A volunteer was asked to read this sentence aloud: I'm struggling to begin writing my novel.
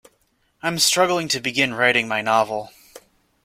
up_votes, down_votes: 2, 0